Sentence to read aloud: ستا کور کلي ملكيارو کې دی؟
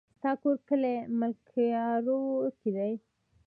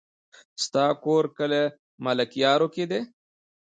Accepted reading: second